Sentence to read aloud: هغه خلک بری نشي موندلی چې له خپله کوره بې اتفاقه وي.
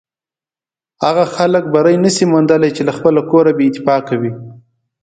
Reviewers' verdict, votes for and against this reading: accepted, 2, 0